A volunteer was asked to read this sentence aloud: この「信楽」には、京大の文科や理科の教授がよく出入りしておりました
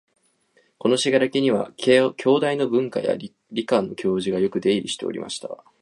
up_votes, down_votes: 2, 0